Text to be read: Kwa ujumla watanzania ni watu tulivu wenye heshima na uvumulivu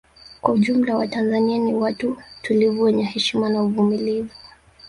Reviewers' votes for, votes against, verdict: 1, 2, rejected